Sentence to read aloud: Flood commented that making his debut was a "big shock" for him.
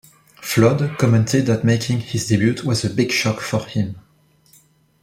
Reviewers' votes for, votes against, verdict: 2, 0, accepted